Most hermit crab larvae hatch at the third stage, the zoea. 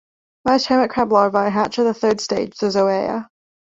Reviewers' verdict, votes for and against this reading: rejected, 1, 2